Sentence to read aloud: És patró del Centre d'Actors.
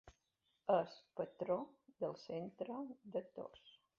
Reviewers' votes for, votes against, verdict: 0, 2, rejected